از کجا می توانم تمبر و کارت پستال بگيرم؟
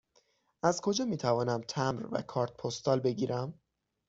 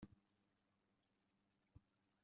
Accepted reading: first